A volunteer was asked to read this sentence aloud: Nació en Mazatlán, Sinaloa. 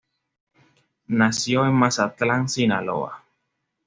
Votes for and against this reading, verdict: 2, 0, accepted